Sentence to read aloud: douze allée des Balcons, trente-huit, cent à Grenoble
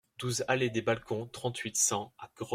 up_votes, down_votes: 0, 2